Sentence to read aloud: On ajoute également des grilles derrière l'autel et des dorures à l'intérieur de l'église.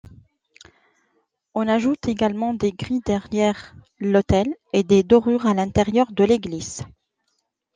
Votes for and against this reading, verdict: 2, 0, accepted